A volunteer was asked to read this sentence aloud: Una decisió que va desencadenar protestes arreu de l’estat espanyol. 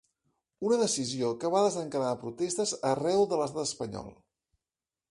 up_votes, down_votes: 2, 0